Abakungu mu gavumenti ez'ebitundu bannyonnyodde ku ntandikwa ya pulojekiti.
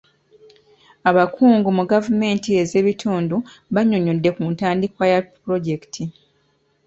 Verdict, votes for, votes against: accepted, 2, 0